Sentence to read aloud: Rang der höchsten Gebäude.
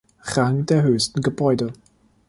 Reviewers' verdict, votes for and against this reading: accepted, 2, 0